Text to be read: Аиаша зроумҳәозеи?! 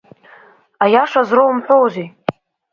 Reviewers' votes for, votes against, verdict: 3, 0, accepted